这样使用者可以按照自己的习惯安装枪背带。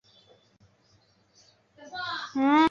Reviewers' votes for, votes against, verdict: 0, 4, rejected